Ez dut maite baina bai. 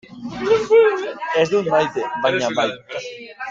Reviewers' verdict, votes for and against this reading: rejected, 0, 2